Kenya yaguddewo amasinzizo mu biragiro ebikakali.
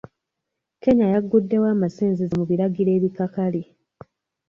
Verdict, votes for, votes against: accepted, 2, 1